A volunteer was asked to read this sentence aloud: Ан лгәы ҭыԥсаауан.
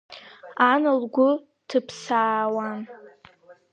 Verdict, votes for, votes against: accepted, 2, 0